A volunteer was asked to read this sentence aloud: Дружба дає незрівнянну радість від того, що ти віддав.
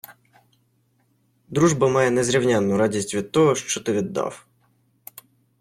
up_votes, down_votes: 1, 2